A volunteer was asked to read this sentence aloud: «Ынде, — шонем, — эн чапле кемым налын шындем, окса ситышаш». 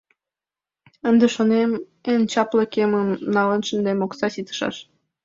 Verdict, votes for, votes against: accepted, 2, 0